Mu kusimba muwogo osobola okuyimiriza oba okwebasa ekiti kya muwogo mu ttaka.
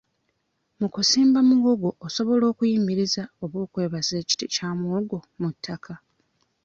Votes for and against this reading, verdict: 2, 0, accepted